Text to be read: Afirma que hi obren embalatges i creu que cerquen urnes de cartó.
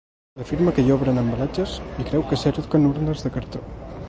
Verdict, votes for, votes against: rejected, 1, 2